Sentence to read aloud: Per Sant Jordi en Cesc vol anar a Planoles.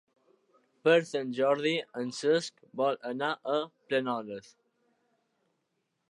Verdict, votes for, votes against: accepted, 3, 0